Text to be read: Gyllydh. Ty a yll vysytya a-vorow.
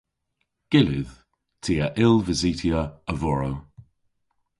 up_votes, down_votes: 2, 0